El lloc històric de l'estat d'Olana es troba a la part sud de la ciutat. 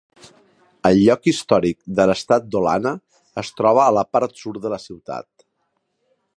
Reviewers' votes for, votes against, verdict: 1, 2, rejected